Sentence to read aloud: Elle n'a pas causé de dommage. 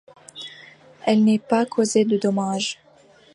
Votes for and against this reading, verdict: 0, 2, rejected